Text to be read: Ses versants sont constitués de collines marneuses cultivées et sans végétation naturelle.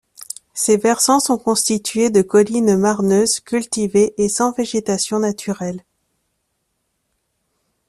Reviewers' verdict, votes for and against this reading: accepted, 2, 0